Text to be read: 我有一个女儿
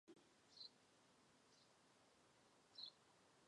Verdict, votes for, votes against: rejected, 0, 2